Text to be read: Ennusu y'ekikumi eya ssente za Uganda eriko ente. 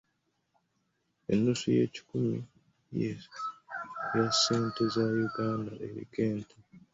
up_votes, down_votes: 0, 2